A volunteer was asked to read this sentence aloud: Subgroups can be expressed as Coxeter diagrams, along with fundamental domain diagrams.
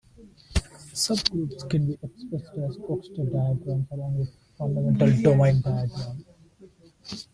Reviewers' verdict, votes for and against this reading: rejected, 0, 2